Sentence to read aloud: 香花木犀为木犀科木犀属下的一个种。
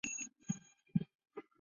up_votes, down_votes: 0, 2